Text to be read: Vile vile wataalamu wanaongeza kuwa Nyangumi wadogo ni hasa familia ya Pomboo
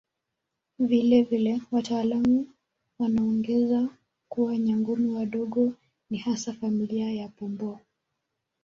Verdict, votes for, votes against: rejected, 1, 2